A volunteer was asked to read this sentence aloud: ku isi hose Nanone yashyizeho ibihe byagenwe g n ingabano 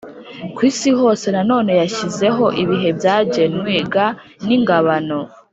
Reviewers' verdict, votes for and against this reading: accepted, 4, 0